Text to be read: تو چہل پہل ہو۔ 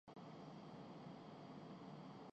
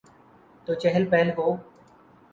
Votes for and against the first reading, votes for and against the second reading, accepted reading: 0, 3, 4, 0, second